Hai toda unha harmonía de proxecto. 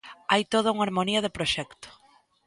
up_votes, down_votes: 2, 0